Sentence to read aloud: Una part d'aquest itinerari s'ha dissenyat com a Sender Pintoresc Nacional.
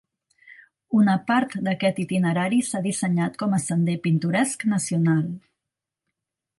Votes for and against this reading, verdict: 3, 0, accepted